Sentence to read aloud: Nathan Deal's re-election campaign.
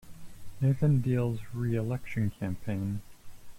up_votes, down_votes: 2, 0